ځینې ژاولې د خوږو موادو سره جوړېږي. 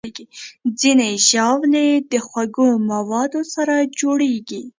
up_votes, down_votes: 2, 0